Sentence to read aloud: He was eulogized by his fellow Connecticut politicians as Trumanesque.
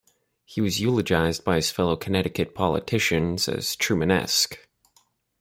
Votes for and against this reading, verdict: 2, 0, accepted